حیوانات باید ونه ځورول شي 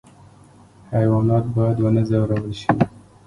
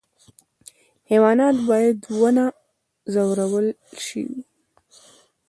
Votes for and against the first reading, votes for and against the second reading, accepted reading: 2, 0, 1, 2, first